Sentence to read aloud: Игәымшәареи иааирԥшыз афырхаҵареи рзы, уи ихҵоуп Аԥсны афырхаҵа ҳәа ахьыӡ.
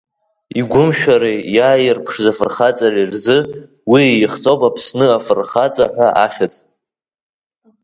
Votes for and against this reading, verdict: 3, 0, accepted